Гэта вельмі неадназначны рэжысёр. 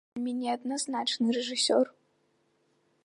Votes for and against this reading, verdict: 0, 2, rejected